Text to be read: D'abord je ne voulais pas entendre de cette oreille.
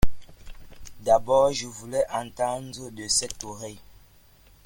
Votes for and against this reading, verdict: 0, 2, rejected